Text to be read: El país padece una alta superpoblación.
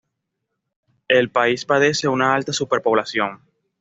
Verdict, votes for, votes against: accepted, 2, 0